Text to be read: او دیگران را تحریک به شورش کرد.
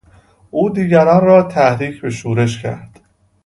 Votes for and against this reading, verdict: 2, 0, accepted